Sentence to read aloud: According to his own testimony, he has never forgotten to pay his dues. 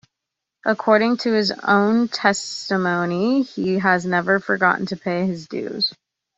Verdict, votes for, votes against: accepted, 2, 0